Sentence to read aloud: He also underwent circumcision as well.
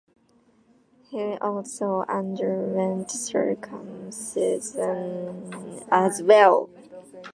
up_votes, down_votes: 2, 0